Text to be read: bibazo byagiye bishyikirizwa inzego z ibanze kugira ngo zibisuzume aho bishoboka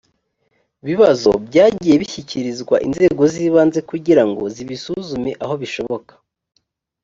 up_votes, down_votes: 2, 0